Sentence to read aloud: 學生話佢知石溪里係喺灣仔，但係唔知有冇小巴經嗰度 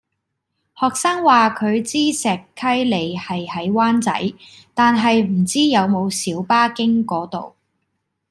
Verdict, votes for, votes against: accepted, 2, 0